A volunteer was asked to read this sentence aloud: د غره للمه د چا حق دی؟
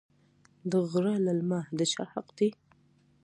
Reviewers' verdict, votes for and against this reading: accepted, 2, 1